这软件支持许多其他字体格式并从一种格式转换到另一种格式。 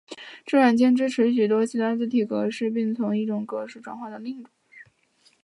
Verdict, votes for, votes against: rejected, 0, 2